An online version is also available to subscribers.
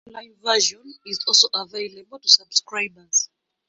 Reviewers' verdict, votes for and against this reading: rejected, 0, 2